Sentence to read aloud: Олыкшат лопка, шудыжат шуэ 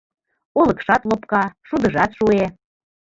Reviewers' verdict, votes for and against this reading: accepted, 2, 0